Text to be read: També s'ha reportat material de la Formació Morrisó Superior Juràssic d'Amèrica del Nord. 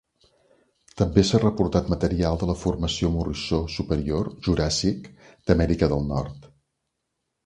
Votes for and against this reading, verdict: 2, 0, accepted